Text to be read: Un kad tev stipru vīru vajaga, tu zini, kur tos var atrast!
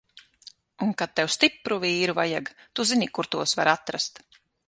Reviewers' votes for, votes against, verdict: 6, 3, accepted